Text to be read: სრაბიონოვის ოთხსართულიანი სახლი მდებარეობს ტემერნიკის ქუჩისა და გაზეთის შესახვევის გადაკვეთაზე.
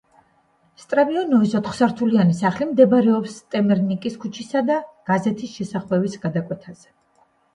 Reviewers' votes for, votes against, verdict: 1, 2, rejected